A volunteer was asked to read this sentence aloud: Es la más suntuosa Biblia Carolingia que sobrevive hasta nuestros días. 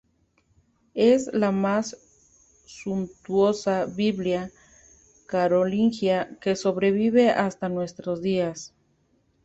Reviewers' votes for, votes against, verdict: 2, 0, accepted